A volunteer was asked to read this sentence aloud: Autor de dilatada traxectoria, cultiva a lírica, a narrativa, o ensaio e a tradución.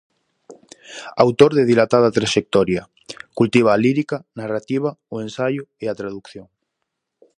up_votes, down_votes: 0, 4